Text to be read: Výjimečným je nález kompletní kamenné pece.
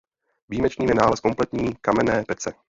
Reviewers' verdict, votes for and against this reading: accepted, 2, 0